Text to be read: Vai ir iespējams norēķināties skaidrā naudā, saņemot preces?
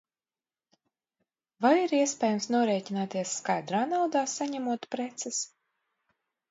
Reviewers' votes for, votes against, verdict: 2, 0, accepted